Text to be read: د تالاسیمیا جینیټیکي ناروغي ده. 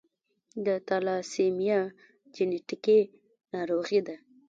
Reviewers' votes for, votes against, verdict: 2, 1, accepted